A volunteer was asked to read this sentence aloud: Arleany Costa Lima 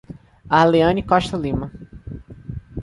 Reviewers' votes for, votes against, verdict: 2, 0, accepted